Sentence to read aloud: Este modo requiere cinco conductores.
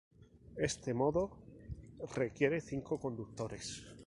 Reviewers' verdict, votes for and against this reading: accepted, 4, 0